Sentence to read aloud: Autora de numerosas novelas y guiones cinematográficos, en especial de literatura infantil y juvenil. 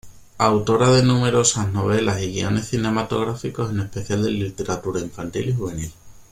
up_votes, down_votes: 2, 0